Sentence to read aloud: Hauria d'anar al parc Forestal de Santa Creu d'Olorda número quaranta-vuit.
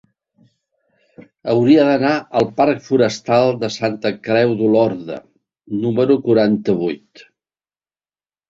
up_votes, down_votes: 2, 0